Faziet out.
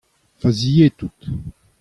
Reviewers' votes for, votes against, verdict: 2, 0, accepted